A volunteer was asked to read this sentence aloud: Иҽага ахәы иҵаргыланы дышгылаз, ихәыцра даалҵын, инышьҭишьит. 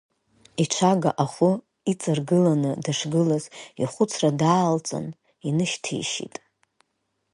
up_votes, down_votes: 4, 6